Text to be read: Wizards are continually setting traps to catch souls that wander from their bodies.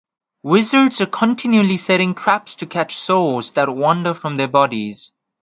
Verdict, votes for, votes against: accepted, 2, 0